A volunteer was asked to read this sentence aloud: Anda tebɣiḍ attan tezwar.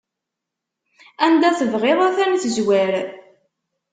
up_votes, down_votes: 1, 2